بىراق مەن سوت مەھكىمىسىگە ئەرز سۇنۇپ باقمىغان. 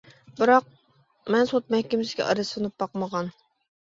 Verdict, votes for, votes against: rejected, 1, 2